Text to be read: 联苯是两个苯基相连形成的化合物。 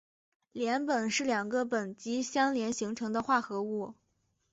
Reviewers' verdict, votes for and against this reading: accepted, 3, 1